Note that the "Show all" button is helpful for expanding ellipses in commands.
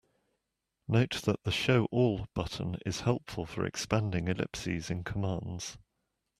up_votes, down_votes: 2, 1